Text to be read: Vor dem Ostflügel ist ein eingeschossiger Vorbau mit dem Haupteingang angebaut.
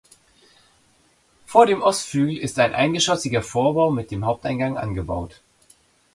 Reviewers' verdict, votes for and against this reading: accepted, 2, 0